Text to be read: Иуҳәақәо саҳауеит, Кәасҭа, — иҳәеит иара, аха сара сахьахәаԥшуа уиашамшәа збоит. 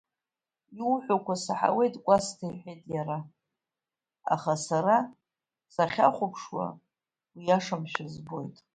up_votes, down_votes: 1, 2